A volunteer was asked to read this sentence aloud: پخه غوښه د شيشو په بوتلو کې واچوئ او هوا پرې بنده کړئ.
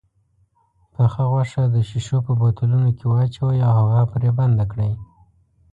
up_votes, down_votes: 2, 0